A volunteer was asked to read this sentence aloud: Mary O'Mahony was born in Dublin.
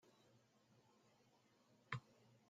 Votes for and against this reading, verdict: 0, 2, rejected